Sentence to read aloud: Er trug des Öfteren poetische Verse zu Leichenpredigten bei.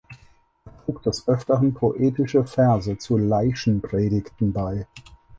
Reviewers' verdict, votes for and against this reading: rejected, 0, 4